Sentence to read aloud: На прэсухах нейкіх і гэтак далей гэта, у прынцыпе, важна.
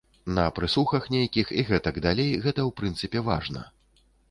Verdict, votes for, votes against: accepted, 2, 0